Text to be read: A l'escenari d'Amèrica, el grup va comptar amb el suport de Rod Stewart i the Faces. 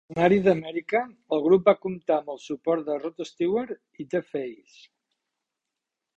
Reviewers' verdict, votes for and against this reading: rejected, 1, 2